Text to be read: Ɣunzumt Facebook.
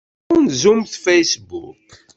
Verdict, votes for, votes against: rejected, 0, 2